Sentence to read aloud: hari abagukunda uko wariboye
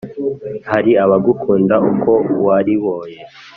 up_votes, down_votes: 2, 0